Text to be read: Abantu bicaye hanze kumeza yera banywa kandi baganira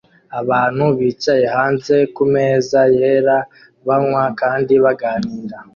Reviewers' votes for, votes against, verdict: 2, 0, accepted